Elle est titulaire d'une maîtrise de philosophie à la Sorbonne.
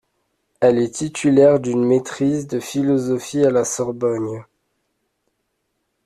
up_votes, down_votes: 1, 2